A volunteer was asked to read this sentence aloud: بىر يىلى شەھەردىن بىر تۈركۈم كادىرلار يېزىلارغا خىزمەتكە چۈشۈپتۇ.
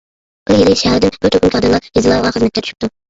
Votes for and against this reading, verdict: 0, 2, rejected